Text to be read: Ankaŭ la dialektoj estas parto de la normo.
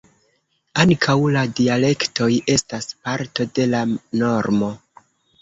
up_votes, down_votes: 1, 2